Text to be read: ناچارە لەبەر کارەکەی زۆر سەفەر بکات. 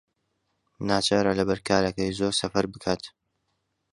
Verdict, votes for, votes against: accepted, 2, 0